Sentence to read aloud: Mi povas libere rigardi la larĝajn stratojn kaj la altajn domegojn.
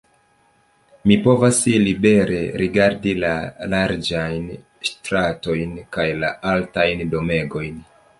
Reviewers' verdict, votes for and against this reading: rejected, 1, 2